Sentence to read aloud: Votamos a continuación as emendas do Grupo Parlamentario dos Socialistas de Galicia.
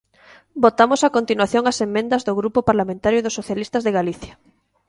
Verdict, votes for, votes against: rejected, 0, 2